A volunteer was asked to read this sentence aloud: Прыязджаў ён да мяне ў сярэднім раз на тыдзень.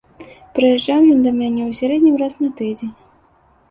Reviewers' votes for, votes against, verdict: 2, 0, accepted